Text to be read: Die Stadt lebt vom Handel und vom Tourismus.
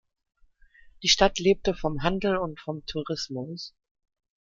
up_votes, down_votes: 0, 2